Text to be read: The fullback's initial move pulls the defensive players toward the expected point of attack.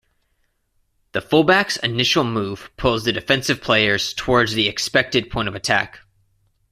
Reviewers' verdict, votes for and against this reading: rejected, 0, 2